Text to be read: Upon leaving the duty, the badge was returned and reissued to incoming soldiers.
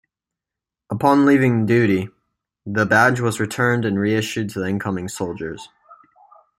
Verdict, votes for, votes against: rejected, 0, 2